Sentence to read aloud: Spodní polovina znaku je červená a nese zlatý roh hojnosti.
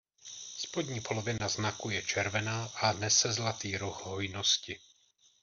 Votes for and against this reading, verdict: 1, 2, rejected